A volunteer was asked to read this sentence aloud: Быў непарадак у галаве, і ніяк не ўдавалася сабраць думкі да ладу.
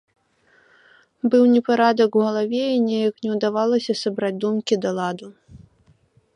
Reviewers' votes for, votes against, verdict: 1, 2, rejected